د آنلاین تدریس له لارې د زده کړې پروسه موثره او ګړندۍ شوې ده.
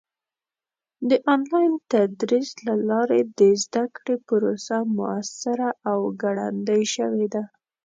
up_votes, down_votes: 2, 0